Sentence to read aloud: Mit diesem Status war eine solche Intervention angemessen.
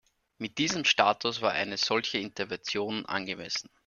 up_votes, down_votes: 2, 1